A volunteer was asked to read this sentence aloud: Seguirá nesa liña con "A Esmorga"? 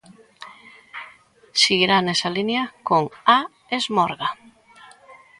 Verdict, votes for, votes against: accepted, 2, 0